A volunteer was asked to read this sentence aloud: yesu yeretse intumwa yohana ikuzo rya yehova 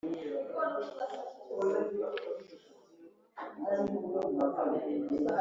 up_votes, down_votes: 0, 2